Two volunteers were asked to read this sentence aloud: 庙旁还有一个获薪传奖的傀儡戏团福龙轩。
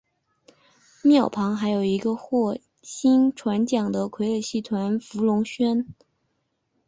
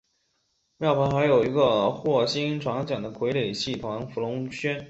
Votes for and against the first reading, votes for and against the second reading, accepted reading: 3, 0, 1, 2, first